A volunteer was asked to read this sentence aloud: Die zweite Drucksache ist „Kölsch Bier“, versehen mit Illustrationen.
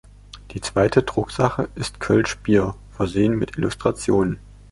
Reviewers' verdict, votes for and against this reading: accepted, 2, 0